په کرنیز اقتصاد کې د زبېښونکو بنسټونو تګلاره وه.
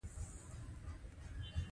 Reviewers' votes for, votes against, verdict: 0, 2, rejected